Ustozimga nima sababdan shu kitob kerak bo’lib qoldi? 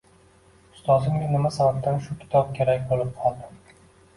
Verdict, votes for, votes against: rejected, 1, 2